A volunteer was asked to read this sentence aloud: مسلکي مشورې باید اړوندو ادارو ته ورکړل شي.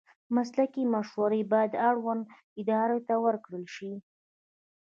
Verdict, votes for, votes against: accepted, 2, 0